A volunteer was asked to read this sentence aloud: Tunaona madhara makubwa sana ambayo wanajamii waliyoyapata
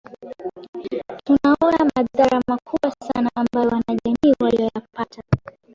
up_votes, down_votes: 0, 2